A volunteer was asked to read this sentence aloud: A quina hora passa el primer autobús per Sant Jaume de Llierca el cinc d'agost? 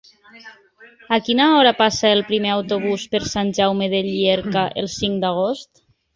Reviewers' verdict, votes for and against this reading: accepted, 3, 0